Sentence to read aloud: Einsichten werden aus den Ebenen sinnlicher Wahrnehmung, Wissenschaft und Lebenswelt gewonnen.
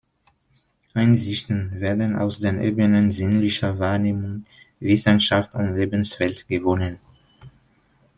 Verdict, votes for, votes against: accepted, 2, 0